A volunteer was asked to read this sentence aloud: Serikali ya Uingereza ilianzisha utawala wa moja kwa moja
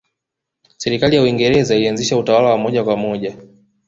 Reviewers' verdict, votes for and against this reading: accepted, 2, 0